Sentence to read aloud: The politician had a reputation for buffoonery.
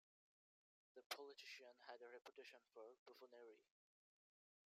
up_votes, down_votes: 0, 2